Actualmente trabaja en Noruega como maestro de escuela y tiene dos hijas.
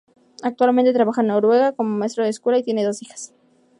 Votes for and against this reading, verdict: 2, 0, accepted